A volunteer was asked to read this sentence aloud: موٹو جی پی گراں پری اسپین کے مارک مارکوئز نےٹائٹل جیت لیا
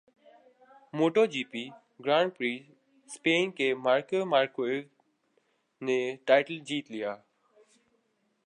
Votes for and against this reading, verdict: 5, 3, accepted